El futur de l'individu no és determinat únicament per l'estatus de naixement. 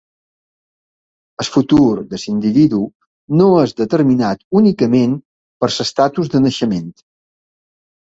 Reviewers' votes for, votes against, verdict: 0, 3, rejected